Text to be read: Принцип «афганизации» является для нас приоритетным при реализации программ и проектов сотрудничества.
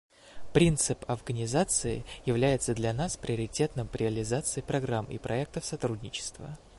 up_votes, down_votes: 2, 0